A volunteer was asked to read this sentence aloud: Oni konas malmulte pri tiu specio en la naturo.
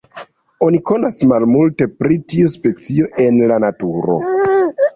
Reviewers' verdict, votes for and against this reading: rejected, 1, 3